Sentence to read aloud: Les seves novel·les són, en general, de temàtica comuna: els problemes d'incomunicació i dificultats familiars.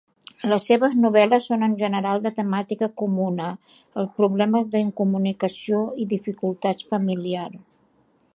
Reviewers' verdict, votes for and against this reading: rejected, 0, 2